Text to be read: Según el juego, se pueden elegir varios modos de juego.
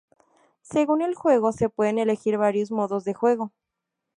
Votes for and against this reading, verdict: 2, 0, accepted